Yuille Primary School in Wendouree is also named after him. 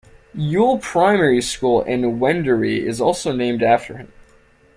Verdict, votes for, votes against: accepted, 2, 0